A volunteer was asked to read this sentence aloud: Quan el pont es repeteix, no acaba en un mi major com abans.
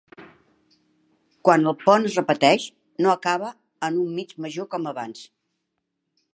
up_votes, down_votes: 0, 2